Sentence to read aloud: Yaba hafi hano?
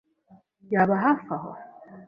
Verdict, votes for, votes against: rejected, 1, 2